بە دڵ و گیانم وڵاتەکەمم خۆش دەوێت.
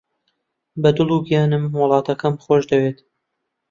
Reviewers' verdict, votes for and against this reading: rejected, 0, 2